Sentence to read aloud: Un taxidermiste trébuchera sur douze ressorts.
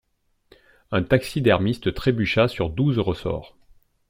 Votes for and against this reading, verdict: 0, 2, rejected